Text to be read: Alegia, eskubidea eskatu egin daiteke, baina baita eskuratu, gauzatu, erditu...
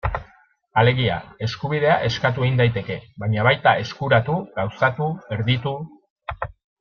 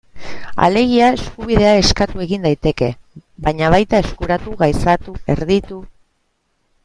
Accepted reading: first